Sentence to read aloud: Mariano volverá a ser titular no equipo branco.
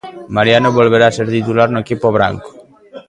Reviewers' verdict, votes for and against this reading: rejected, 0, 2